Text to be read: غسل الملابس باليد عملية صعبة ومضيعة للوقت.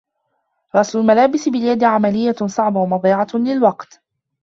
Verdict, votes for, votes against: rejected, 0, 2